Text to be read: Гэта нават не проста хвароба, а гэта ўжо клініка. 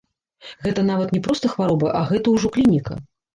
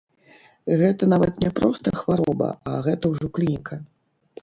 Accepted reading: first